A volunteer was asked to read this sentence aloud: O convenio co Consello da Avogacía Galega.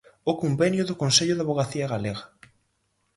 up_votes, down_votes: 0, 4